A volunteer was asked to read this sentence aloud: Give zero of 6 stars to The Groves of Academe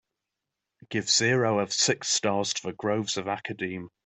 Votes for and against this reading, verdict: 0, 2, rejected